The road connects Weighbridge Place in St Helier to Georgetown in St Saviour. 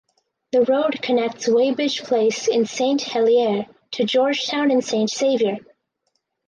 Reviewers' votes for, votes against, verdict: 2, 0, accepted